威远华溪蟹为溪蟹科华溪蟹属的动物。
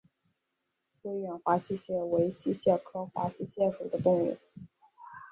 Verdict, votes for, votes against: accepted, 2, 0